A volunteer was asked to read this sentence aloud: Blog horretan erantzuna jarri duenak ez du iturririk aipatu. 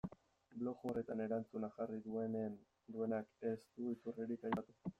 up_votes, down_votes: 0, 2